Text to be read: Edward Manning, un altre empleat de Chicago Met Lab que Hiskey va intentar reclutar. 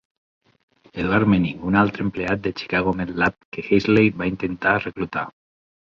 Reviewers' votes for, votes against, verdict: 1, 2, rejected